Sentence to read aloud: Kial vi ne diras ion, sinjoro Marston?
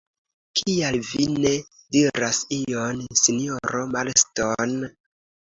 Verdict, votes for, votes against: accepted, 2, 0